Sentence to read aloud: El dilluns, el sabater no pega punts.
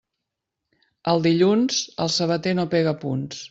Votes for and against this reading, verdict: 2, 0, accepted